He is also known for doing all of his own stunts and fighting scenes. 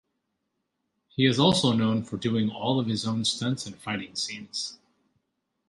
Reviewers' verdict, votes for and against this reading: accepted, 2, 0